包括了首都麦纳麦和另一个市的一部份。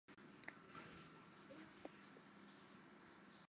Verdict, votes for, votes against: rejected, 0, 4